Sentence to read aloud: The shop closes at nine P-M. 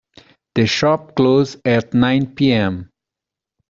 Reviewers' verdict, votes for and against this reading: rejected, 0, 2